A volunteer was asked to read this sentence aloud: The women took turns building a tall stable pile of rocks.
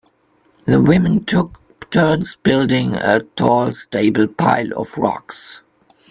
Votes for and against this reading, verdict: 2, 1, accepted